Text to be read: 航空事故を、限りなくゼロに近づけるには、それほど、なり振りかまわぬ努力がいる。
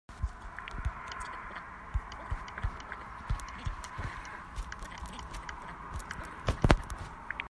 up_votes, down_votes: 0, 2